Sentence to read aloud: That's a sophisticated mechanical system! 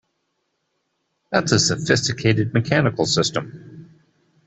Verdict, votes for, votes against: accepted, 2, 0